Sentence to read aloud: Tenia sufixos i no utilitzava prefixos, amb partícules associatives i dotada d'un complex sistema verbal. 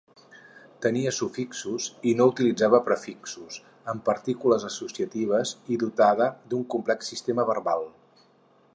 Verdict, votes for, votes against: accepted, 4, 0